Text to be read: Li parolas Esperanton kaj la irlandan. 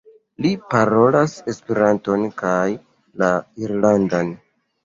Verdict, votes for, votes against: accepted, 2, 1